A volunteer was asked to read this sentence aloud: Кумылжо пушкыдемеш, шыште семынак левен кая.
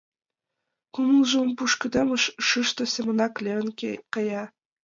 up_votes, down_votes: 2, 5